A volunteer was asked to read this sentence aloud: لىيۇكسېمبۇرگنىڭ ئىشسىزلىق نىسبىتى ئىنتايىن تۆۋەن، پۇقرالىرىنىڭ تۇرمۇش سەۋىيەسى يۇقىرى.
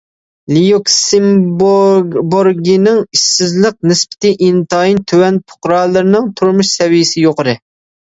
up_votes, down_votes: 0, 2